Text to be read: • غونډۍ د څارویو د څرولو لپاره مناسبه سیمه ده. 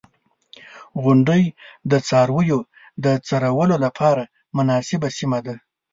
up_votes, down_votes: 2, 0